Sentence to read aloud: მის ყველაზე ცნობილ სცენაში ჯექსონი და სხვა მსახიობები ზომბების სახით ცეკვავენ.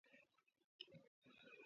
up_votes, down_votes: 0, 2